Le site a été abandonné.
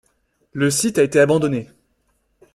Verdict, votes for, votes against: accepted, 2, 0